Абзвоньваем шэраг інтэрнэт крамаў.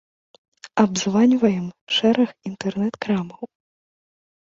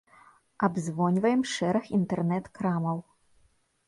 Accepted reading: second